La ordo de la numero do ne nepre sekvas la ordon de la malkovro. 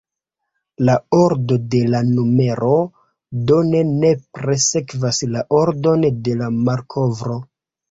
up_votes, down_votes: 2, 0